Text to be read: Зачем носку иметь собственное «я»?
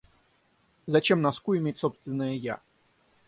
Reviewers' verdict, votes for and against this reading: rejected, 3, 3